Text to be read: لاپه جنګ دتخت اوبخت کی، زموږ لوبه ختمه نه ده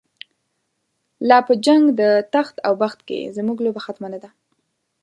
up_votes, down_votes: 2, 0